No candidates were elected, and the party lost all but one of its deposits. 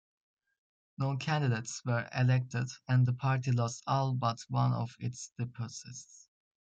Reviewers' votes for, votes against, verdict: 2, 0, accepted